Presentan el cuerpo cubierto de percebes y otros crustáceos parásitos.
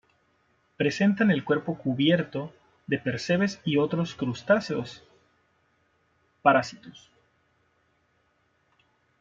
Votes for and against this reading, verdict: 0, 2, rejected